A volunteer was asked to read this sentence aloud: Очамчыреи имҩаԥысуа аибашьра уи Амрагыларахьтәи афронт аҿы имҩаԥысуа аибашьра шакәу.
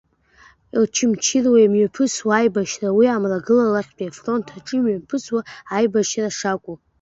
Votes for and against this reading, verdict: 2, 1, accepted